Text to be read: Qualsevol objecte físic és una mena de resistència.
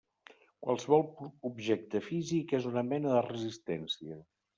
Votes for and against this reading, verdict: 1, 2, rejected